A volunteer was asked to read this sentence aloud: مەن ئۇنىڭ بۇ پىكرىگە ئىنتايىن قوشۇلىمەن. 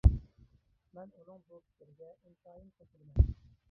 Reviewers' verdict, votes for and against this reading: rejected, 0, 2